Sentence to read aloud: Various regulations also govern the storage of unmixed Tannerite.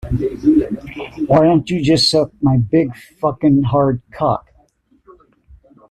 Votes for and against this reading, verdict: 0, 2, rejected